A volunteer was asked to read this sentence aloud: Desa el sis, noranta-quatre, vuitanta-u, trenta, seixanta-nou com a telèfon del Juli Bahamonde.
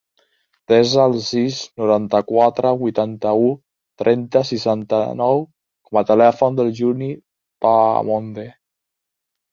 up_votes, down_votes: 1, 2